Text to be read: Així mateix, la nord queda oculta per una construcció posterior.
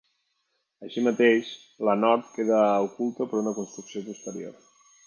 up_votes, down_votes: 3, 0